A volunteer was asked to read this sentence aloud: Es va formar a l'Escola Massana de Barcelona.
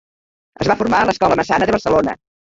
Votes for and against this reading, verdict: 0, 2, rejected